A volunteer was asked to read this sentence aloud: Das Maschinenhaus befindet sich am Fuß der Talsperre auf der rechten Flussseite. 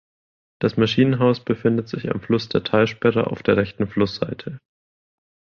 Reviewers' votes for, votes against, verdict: 0, 2, rejected